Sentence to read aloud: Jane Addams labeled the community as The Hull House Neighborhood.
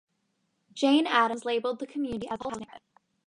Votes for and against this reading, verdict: 0, 2, rejected